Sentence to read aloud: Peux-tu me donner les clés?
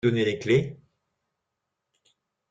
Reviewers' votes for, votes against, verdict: 0, 2, rejected